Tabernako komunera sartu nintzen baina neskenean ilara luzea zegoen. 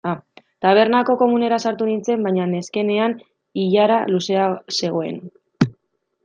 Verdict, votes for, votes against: accepted, 2, 0